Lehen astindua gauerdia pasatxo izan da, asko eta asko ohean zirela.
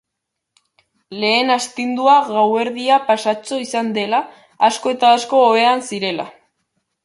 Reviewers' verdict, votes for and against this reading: rejected, 0, 2